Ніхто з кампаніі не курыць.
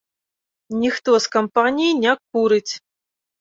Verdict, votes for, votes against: accepted, 2, 0